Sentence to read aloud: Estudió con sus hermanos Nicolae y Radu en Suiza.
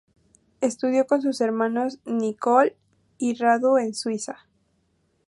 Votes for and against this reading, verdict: 0, 4, rejected